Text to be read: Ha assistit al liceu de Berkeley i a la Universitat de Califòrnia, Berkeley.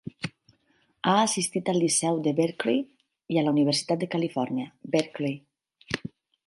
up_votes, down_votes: 6, 0